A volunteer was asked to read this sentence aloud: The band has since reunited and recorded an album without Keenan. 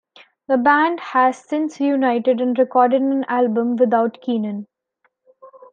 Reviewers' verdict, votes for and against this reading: rejected, 1, 2